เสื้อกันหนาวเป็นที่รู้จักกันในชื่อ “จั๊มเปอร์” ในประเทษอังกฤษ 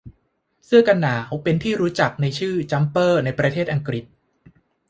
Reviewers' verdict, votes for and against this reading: rejected, 1, 2